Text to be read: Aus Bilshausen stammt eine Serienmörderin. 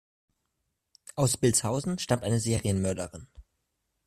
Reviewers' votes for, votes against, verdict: 2, 0, accepted